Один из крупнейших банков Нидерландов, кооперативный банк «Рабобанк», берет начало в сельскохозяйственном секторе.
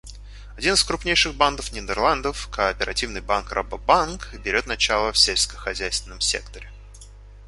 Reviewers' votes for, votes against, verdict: 0, 2, rejected